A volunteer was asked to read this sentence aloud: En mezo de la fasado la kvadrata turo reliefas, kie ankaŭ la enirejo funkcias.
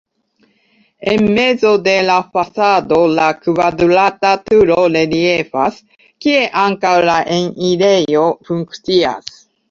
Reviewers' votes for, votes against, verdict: 0, 2, rejected